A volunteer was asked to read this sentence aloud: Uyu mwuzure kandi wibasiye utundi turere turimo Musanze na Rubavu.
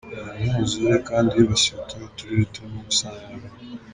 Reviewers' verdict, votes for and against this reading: rejected, 0, 2